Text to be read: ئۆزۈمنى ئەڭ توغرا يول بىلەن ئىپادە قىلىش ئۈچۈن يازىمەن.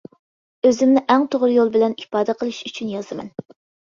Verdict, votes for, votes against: accepted, 2, 0